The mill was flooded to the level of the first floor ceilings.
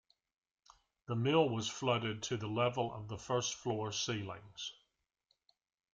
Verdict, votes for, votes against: accepted, 2, 0